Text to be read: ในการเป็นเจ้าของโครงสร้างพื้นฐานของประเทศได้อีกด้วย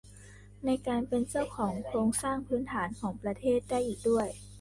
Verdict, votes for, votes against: rejected, 1, 2